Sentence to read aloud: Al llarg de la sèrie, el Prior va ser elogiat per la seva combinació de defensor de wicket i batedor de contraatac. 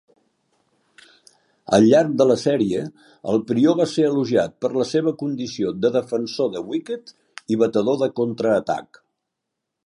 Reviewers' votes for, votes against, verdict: 0, 2, rejected